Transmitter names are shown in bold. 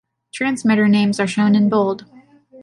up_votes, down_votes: 2, 0